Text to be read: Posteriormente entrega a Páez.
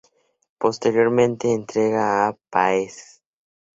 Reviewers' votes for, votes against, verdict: 2, 0, accepted